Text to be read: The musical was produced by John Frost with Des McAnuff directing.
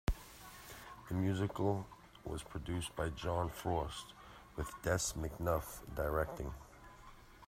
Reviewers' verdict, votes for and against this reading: accepted, 2, 0